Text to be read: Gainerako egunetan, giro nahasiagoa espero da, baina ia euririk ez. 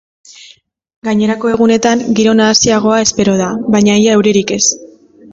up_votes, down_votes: 2, 0